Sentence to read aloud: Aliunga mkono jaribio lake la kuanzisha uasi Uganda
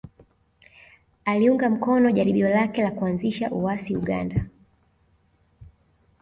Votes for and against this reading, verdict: 2, 0, accepted